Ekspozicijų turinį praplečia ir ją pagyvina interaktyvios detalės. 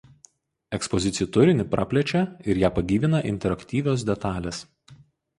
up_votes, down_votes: 2, 0